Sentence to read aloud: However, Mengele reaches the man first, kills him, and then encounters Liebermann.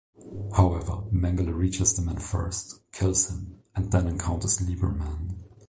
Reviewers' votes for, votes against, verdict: 2, 0, accepted